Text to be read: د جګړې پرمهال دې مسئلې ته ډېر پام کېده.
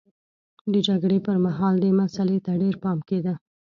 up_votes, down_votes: 2, 0